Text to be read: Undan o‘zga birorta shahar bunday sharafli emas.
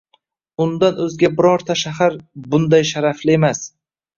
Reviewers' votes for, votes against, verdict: 2, 0, accepted